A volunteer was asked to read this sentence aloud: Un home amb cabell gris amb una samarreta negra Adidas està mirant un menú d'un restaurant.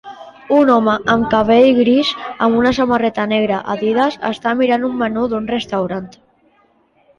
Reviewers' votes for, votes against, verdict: 2, 0, accepted